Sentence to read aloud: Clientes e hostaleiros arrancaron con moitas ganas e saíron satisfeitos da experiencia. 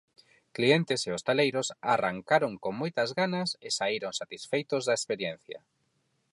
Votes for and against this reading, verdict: 4, 0, accepted